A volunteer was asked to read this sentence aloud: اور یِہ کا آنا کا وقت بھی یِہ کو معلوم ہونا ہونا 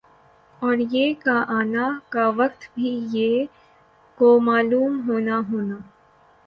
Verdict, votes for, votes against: accepted, 6, 3